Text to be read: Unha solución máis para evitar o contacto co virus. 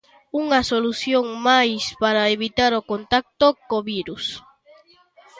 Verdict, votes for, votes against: rejected, 1, 2